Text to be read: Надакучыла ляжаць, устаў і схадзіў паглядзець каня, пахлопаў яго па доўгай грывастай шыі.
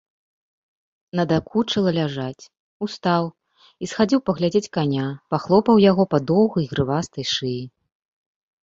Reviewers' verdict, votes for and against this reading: accepted, 2, 0